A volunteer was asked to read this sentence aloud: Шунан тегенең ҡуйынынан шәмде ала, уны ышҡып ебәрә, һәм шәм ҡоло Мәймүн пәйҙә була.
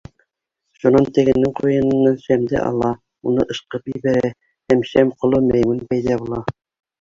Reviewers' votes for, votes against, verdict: 0, 2, rejected